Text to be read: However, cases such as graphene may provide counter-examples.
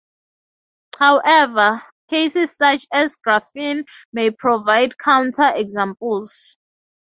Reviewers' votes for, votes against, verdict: 2, 0, accepted